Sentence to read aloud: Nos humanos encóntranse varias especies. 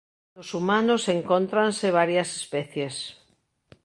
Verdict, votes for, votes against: rejected, 1, 2